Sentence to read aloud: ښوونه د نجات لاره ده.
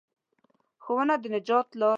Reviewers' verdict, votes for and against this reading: rejected, 1, 2